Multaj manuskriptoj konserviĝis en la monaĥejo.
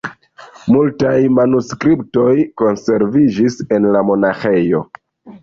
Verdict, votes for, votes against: accepted, 2, 0